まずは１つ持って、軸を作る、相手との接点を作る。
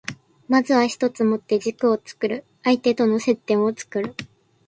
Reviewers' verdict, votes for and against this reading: rejected, 0, 2